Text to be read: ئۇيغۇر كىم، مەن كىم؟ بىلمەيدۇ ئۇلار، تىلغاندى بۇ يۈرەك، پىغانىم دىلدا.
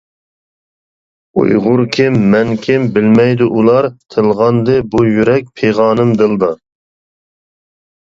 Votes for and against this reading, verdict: 2, 0, accepted